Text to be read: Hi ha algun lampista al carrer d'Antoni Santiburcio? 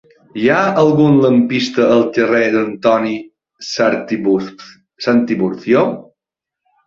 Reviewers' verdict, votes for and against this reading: rejected, 0, 2